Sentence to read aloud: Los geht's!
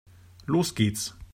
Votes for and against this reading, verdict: 2, 0, accepted